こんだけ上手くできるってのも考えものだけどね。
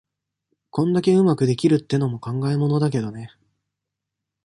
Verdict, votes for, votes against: accepted, 2, 0